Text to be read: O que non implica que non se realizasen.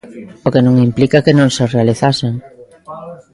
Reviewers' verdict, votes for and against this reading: rejected, 0, 2